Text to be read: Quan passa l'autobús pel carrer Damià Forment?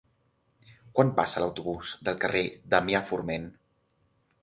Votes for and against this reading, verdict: 0, 6, rejected